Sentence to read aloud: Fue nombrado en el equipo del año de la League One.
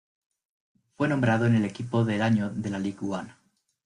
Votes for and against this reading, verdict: 1, 2, rejected